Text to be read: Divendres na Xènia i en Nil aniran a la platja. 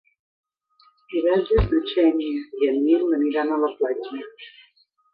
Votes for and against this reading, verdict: 2, 0, accepted